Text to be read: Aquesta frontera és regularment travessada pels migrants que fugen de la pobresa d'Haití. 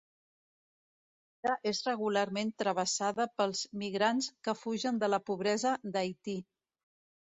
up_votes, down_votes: 0, 2